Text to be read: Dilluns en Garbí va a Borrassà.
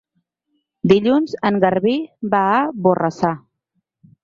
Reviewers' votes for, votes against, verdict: 4, 0, accepted